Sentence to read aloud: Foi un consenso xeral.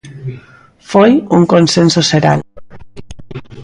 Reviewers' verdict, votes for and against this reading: accepted, 2, 0